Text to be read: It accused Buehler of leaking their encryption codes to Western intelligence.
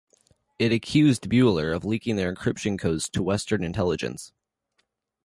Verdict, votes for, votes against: accepted, 2, 0